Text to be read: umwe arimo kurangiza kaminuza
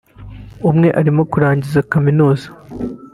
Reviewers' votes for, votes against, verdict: 3, 0, accepted